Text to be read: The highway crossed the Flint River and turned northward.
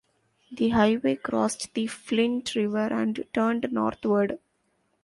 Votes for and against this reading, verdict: 2, 0, accepted